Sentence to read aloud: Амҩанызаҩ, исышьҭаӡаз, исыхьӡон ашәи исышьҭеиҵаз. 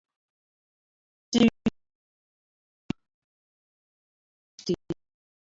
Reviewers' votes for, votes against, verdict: 0, 2, rejected